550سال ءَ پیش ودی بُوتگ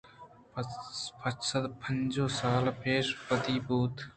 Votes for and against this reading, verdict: 0, 2, rejected